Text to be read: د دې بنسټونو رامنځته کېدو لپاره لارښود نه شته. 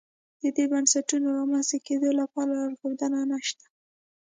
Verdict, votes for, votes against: accepted, 2, 0